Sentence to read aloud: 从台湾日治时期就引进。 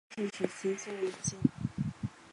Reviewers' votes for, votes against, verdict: 0, 3, rejected